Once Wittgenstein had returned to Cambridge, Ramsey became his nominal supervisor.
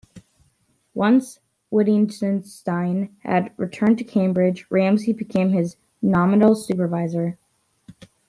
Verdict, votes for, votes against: accepted, 2, 0